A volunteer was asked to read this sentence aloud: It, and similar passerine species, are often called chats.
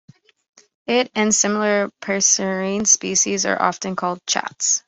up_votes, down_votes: 2, 0